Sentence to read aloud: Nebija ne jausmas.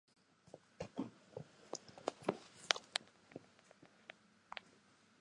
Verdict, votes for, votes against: rejected, 0, 2